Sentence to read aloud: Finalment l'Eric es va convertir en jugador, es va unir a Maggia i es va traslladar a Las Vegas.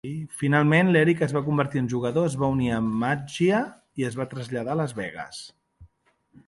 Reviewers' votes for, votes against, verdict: 3, 0, accepted